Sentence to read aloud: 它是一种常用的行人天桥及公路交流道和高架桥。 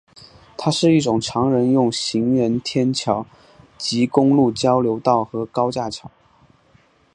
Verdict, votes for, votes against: rejected, 1, 2